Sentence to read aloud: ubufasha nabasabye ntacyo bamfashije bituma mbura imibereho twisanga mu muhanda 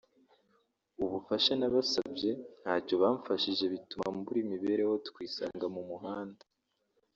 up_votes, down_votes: 1, 2